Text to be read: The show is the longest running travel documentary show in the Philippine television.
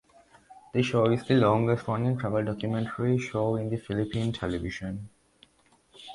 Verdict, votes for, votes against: accepted, 2, 0